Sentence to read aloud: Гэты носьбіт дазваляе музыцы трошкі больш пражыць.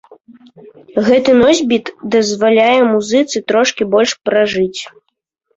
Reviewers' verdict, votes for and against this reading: rejected, 0, 2